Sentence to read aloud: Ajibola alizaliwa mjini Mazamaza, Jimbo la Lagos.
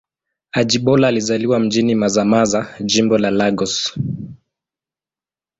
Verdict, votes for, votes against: accepted, 2, 0